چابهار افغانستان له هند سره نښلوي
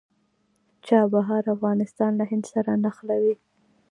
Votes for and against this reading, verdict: 2, 1, accepted